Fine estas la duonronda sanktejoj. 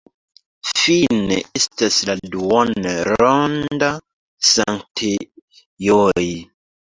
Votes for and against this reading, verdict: 0, 2, rejected